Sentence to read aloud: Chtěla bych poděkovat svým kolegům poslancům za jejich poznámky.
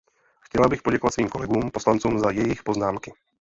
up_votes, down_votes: 0, 2